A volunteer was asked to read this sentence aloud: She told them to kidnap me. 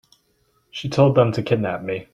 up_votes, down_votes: 2, 0